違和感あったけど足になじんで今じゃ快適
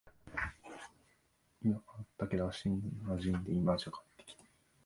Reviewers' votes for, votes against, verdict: 0, 2, rejected